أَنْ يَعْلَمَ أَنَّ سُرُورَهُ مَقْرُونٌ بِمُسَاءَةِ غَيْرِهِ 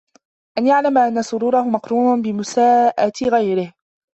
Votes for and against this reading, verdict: 1, 2, rejected